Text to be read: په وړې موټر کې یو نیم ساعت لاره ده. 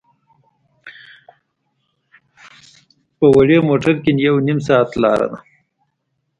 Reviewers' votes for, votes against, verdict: 1, 2, rejected